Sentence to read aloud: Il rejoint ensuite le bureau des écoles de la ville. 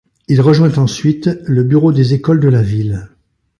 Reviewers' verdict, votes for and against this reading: accepted, 2, 0